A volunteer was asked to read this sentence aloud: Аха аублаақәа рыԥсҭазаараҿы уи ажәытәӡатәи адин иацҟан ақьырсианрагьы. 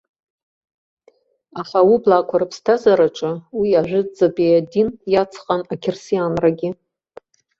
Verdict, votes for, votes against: accepted, 2, 0